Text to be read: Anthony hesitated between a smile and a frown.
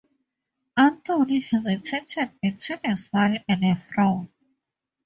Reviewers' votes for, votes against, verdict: 2, 2, rejected